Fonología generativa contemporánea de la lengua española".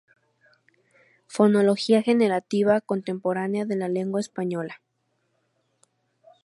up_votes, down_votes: 2, 0